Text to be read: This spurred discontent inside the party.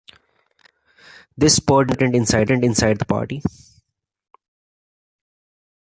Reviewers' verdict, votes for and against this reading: rejected, 0, 2